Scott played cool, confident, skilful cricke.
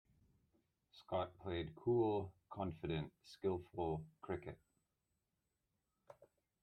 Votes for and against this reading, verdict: 0, 2, rejected